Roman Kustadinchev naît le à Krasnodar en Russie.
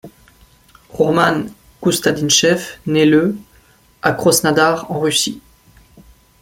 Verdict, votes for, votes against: rejected, 0, 2